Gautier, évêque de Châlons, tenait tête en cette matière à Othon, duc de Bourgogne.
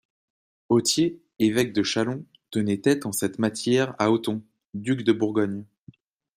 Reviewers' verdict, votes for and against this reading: accepted, 2, 0